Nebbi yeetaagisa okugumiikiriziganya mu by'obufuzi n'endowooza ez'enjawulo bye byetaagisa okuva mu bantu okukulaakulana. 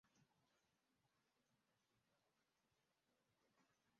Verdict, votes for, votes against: rejected, 0, 2